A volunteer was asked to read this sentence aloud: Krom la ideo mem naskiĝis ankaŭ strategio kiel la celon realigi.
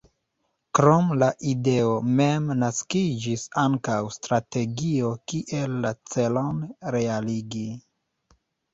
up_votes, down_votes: 3, 2